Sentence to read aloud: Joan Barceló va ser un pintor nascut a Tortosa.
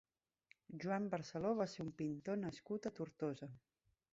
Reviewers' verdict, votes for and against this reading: rejected, 1, 2